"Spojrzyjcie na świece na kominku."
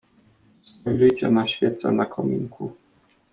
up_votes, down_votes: 0, 2